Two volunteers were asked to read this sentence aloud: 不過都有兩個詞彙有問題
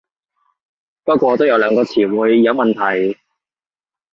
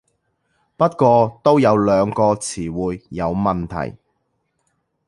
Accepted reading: first